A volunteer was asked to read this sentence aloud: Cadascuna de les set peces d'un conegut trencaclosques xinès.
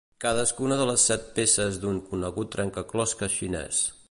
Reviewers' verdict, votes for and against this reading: accepted, 2, 0